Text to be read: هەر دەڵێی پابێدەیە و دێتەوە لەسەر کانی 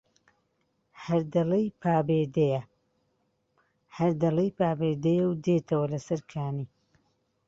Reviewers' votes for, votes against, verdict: 1, 2, rejected